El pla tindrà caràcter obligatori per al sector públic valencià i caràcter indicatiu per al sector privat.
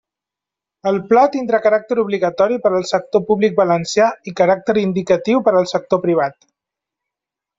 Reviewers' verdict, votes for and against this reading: accepted, 3, 0